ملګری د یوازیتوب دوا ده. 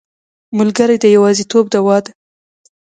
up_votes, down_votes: 1, 2